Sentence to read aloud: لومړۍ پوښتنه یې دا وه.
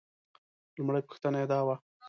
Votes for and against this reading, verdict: 3, 0, accepted